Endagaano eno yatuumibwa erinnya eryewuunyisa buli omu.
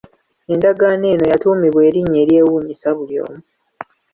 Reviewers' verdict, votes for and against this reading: accepted, 2, 0